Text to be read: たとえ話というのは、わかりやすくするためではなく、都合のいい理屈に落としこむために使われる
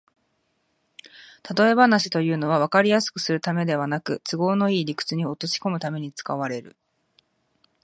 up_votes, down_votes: 2, 0